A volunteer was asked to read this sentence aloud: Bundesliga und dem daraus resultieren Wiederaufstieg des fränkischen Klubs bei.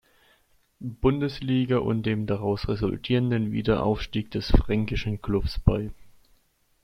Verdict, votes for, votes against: rejected, 0, 2